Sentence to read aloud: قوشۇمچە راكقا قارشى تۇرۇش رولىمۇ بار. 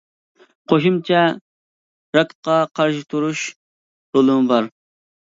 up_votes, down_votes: 2, 0